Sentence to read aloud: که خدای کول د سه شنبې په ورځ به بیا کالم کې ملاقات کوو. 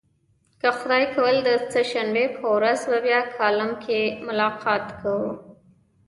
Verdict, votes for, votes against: accepted, 2, 1